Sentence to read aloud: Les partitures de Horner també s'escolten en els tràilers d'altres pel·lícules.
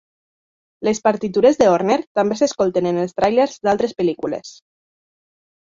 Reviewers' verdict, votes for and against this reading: accepted, 3, 1